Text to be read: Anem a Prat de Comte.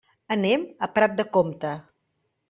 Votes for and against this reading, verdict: 3, 0, accepted